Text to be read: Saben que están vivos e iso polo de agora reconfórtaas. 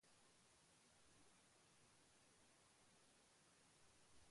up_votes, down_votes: 0, 2